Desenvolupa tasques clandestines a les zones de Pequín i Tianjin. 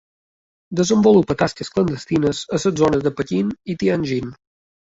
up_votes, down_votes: 2, 1